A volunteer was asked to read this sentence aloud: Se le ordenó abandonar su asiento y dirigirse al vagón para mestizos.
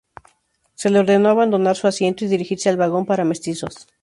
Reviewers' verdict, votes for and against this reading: rejected, 2, 2